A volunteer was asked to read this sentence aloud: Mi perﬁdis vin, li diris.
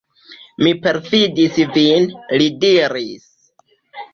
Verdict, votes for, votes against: accepted, 2, 1